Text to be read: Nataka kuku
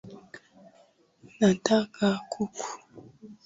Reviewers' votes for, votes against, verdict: 10, 0, accepted